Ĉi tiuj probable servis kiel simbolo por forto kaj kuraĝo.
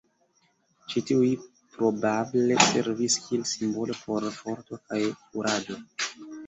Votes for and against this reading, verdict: 1, 3, rejected